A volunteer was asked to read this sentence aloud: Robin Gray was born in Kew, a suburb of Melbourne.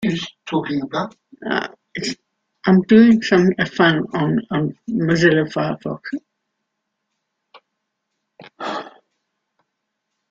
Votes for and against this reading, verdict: 0, 3, rejected